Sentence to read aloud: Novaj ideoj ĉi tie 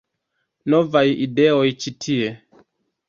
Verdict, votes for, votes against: rejected, 1, 2